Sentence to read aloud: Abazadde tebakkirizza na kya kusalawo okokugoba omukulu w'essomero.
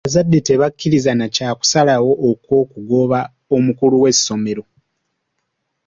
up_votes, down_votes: 2, 0